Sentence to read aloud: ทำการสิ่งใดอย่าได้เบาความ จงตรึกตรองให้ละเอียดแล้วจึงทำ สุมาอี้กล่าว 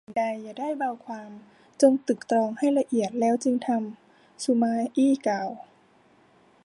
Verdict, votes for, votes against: rejected, 0, 2